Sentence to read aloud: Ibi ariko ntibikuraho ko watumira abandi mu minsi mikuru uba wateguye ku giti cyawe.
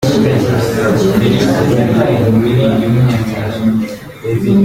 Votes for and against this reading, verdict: 0, 3, rejected